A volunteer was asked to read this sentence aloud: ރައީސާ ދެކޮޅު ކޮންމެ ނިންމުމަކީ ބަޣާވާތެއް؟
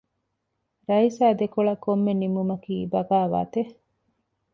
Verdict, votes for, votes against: accepted, 2, 0